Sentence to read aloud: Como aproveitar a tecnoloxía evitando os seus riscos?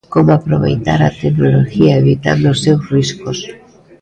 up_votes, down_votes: 0, 2